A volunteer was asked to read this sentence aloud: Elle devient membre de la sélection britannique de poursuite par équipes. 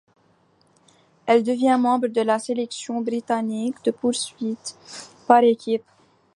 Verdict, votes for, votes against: accepted, 2, 0